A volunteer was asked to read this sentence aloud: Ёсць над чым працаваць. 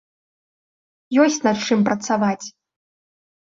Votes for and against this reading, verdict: 1, 2, rejected